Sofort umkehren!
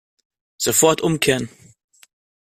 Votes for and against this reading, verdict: 2, 0, accepted